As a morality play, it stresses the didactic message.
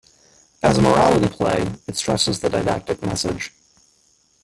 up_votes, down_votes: 0, 2